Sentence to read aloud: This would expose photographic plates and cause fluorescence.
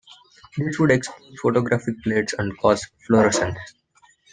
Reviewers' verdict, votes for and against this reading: rejected, 1, 2